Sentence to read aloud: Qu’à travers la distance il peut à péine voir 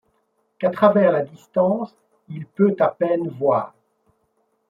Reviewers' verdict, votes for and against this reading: accepted, 2, 0